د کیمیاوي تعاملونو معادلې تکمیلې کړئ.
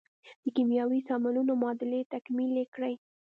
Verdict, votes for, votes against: rejected, 1, 2